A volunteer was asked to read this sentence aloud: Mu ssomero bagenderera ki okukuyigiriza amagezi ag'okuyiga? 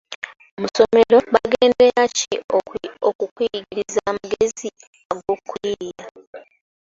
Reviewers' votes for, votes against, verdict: 0, 2, rejected